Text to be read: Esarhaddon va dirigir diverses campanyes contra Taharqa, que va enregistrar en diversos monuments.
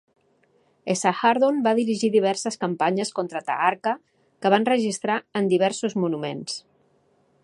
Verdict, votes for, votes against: accepted, 2, 0